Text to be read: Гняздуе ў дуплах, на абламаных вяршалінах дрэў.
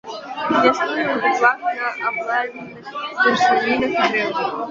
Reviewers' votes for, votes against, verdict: 0, 2, rejected